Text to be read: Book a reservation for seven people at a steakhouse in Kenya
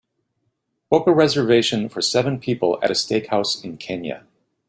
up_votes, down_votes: 2, 0